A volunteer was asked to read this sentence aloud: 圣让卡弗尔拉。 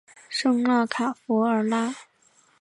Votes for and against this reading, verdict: 2, 0, accepted